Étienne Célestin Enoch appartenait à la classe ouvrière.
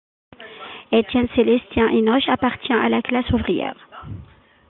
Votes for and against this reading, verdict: 2, 1, accepted